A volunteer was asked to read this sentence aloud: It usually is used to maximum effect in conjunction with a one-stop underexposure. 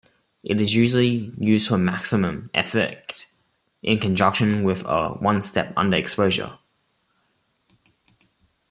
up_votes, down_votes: 2, 1